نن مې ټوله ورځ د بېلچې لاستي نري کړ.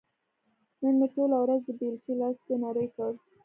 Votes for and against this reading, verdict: 1, 2, rejected